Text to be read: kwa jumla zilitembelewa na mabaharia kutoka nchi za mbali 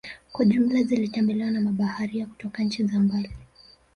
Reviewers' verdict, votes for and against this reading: rejected, 0, 2